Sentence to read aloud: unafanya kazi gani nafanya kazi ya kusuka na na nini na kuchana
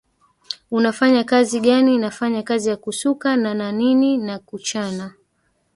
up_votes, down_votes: 2, 1